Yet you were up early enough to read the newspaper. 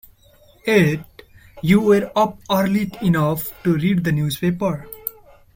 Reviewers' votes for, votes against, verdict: 1, 2, rejected